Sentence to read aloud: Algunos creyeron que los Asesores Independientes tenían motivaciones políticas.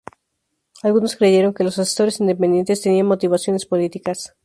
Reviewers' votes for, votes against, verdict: 2, 2, rejected